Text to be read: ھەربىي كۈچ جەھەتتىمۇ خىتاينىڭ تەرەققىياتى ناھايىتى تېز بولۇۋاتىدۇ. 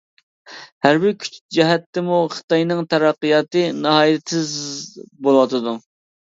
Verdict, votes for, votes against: accepted, 2, 0